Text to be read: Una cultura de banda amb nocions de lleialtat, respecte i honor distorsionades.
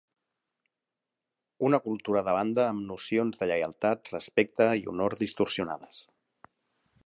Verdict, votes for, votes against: accepted, 3, 0